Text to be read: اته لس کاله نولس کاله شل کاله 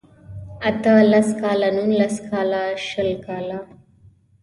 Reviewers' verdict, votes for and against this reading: accepted, 2, 0